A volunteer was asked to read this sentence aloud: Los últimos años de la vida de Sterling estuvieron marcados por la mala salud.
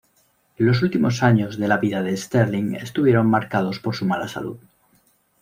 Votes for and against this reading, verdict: 0, 2, rejected